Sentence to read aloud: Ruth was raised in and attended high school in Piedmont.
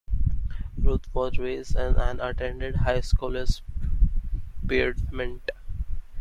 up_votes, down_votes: 0, 2